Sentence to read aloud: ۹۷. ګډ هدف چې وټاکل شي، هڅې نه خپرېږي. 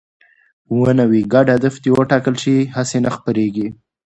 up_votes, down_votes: 0, 2